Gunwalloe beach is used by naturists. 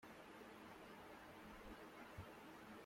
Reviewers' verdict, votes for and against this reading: rejected, 0, 2